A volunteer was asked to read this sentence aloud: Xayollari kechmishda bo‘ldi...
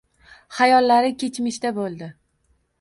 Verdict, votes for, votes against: accepted, 2, 1